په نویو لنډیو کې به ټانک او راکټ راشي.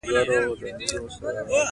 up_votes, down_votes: 2, 1